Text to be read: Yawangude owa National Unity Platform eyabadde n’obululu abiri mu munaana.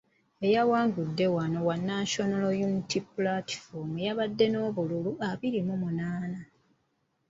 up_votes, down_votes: 0, 2